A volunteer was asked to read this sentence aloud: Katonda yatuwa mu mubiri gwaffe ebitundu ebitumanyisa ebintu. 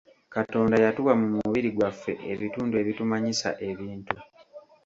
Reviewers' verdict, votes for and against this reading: accepted, 2, 0